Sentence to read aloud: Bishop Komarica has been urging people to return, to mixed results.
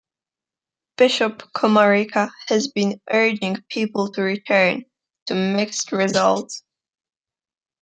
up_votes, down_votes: 2, 0